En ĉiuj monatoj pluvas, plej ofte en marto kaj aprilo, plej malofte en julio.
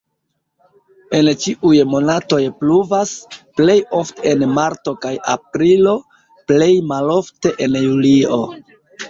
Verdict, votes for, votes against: accepted, 2, 0